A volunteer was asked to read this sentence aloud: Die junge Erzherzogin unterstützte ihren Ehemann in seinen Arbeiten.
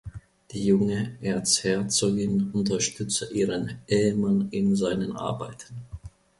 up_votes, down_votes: 1, 2